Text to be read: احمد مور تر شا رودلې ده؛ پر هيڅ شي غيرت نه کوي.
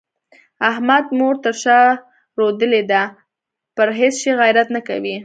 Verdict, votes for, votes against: accepted, 2, 0